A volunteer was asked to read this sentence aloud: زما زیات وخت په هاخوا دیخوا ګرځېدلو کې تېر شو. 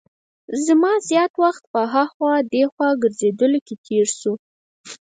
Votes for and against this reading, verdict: 4, 0, accepted